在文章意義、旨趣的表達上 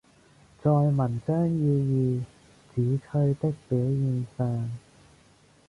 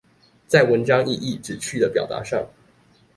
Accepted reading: second